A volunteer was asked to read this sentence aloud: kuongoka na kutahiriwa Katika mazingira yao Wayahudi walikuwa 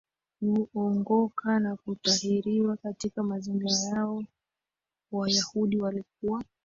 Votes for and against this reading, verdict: 2, 1, accepted